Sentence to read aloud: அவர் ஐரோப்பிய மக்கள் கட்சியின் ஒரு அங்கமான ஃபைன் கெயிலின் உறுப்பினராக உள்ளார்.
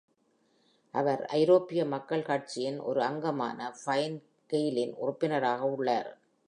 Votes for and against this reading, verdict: 2, 0, accepted